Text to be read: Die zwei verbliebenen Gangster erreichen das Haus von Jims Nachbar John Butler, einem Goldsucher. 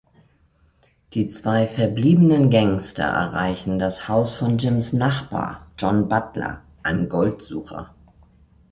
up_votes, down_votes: 3, 0